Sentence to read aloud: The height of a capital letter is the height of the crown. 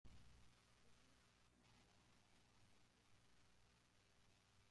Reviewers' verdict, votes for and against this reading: rejected, 0, 2